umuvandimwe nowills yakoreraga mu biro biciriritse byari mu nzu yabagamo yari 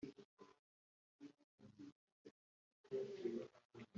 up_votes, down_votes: 0, 2